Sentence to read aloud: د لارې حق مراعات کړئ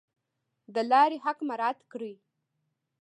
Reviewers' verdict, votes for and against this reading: rejected, 1, 2